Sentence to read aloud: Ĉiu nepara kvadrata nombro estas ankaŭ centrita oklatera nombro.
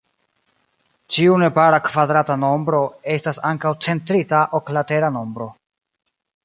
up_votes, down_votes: 2, 0